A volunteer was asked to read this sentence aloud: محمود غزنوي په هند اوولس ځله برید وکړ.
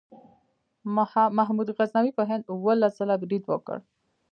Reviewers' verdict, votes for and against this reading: rejected, 0, 2